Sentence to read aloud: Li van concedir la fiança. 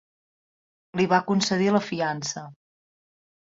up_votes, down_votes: 0, 2